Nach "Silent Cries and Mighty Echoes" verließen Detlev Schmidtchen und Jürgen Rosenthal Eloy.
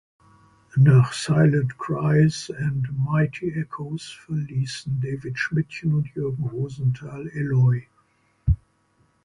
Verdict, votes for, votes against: rejected, 0, 2